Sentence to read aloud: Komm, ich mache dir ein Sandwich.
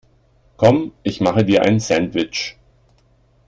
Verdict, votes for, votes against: accepted, 2, 0